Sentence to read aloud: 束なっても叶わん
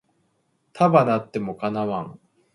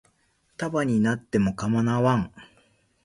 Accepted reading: first